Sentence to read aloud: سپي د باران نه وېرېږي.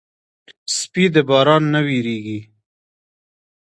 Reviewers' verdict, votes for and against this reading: accepted, 2, 0